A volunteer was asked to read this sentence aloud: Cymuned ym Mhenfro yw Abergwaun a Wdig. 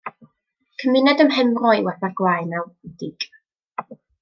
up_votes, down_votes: 2, 0